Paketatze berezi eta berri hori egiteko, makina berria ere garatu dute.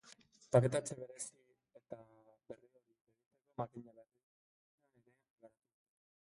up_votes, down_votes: 0, 3